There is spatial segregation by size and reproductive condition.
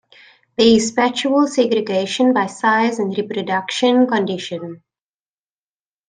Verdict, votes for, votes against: rejected, 0, 2